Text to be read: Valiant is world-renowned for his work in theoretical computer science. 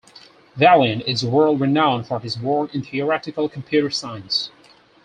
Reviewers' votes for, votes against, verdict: 4, 0, accepted